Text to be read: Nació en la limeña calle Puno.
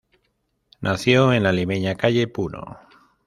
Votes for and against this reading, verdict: 0, 2, rejected